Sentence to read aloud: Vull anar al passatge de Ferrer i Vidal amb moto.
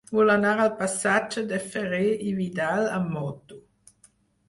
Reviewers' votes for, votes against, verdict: 4, 2, accepted